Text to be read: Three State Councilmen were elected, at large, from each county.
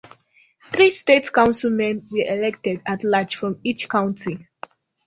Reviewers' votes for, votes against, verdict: 1, 2, rejected